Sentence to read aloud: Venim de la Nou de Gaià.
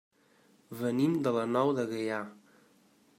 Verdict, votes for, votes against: accepted, 2, 0